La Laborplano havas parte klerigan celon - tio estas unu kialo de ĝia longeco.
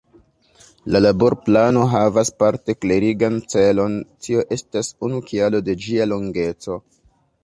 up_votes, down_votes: 2, 0